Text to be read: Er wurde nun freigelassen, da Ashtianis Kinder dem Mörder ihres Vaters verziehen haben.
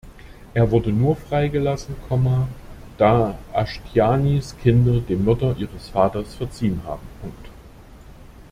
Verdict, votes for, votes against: rejected, 0, 2